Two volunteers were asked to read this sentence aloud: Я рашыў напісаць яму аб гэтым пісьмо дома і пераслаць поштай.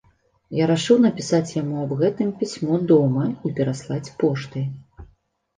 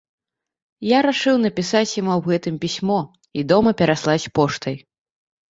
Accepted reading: first